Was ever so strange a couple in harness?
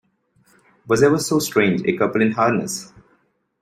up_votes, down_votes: 2, 0